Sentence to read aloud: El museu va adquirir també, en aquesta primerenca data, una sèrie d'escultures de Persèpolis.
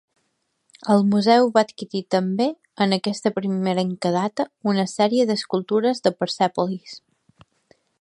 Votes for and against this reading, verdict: 2, 0, accepted